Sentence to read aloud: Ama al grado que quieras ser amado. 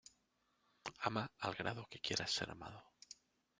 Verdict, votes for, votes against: rejected, 1, 2